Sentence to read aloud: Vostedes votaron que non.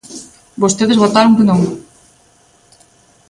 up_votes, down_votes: 2, 0